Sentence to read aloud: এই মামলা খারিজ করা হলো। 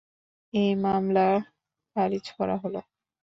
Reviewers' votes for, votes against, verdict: 2, 0, accepted